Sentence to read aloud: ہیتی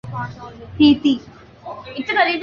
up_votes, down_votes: 1, 2